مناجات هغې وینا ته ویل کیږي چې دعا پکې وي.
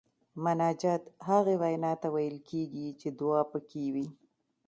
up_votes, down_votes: 1, 2